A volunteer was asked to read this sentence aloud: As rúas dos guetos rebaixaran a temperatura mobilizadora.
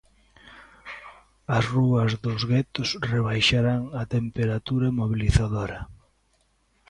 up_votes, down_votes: 1, 2